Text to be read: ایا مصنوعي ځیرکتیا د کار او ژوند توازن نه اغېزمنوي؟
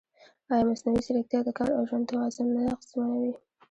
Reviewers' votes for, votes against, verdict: 2, 0, accepted